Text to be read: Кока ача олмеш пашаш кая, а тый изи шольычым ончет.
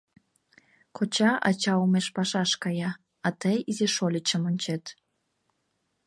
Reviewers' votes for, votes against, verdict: 1, 2, rejected